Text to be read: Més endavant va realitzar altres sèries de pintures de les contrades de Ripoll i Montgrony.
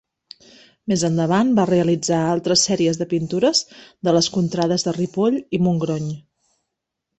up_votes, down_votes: 3, 0